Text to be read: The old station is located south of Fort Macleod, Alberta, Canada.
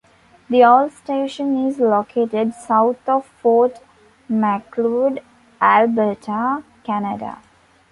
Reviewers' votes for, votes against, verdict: 2, 1, accepted